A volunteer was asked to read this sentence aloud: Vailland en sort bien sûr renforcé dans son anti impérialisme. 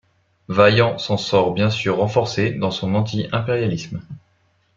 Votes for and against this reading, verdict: 1, 2, rejected